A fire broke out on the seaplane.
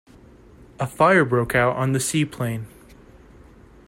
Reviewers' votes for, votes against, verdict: 2, 0, accepted